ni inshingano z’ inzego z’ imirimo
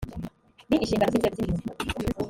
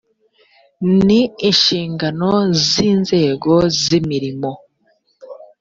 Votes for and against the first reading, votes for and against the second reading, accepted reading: 0, 3, 2, 0, second